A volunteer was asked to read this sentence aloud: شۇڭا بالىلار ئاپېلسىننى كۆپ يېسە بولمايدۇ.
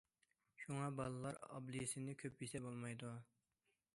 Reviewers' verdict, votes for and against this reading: accepted, 2, 1